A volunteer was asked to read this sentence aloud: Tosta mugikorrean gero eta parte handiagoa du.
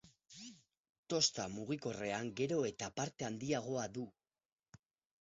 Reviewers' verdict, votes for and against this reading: accepted, 8, 0